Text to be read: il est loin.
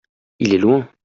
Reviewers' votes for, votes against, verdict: 2, 0, accepted